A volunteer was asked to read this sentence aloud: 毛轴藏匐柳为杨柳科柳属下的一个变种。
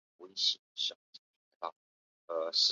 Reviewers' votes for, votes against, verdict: 0, 2, rejected